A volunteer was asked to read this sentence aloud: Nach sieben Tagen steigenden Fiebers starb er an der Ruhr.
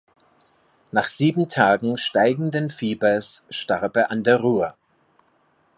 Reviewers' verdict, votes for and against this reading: accepted, 2, 0